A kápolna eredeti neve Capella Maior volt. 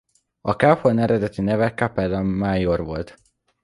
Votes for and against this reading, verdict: 1, 2, rejected